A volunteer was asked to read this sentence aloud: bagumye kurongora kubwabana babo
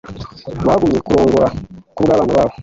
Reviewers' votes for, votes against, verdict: 1, 2, rejected